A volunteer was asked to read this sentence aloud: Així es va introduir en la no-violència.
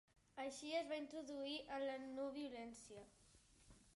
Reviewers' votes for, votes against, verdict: 1, 2, rejected